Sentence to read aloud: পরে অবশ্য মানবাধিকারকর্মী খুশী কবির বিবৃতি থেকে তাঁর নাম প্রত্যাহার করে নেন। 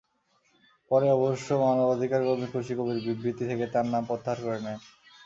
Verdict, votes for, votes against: accepted, 2, 0